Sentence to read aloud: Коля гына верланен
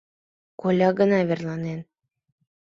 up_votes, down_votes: 2, 0